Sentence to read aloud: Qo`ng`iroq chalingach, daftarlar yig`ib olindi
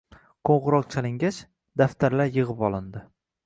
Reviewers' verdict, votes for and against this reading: accepted, 2, 0